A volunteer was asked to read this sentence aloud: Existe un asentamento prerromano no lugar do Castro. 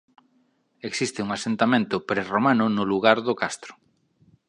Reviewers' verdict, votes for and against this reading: accepted, 2, 0